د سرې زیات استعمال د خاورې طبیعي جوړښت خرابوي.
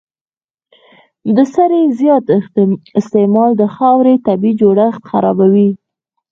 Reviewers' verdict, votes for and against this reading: rejected, 0, 4